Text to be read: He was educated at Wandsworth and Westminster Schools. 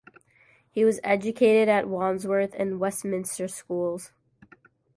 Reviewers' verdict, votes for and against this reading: accepted, 2, 0